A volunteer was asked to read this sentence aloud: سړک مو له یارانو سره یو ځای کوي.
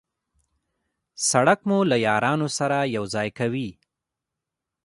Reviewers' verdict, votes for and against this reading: accepted, 2, 1